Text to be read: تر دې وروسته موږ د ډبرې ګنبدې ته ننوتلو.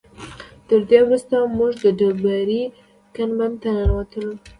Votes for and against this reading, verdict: 2, 0, accepted